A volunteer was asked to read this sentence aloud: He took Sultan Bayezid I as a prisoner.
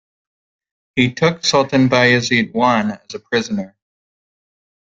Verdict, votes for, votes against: accepted, 2, 1